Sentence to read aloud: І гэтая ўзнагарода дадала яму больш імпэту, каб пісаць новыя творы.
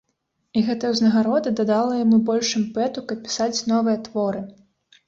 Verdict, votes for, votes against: accepted, 2, 0